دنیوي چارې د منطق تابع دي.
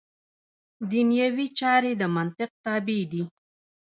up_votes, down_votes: 2, 0